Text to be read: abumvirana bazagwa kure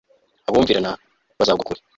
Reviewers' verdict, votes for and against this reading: rejected, 1, 2